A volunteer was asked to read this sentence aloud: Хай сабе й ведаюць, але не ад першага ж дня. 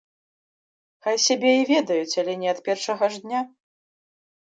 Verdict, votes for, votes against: rejected, 0, 2